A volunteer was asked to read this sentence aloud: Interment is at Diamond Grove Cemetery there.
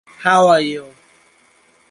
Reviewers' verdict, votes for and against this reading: rejected, 0, 2